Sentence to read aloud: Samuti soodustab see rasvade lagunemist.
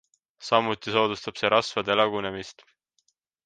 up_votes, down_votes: 2, 0